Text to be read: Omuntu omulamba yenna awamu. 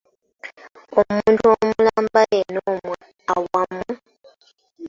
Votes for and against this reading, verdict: 0, 2, rejected